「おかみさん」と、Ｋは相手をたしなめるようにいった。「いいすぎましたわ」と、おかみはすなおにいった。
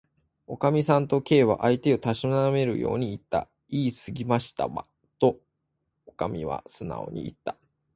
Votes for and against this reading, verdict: 0, 2, rejected